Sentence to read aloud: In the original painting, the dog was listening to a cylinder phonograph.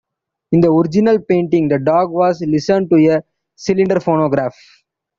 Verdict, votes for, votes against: rejected, 0, 2